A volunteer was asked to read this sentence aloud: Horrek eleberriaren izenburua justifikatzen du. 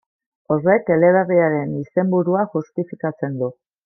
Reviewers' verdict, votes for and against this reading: accepted, 2, 0